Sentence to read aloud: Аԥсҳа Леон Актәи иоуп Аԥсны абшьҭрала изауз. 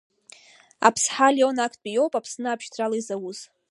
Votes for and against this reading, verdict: 1, 2, rejected